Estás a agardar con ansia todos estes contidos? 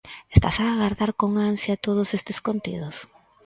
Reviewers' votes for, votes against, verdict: 6, 0, accepted